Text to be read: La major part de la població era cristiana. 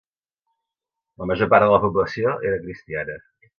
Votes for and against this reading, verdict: 2, 0, accepted